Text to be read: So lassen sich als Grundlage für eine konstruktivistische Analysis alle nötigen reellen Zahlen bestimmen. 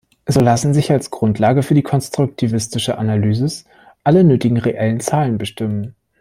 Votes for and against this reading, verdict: 1, 2, rejected